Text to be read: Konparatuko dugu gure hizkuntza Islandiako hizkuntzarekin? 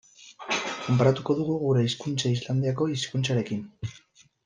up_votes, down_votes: 1, 2